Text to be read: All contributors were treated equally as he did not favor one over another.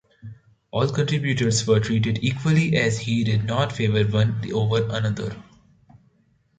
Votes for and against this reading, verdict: 1, 2, rejected